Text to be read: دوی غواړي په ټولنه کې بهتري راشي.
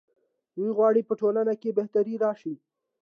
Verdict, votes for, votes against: accepted, 2, 0